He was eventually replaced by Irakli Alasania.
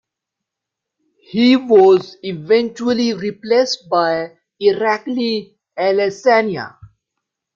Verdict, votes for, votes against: accepted, 2, 0